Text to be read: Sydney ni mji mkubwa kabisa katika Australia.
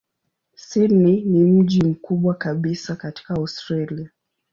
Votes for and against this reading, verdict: 0, 2, rejected